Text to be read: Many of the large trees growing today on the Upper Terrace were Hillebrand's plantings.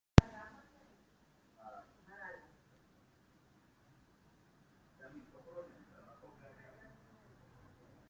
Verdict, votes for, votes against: rejected, 0, 2